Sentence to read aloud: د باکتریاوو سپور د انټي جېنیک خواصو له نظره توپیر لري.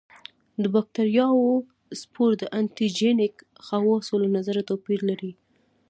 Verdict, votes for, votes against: rejected, 1, 2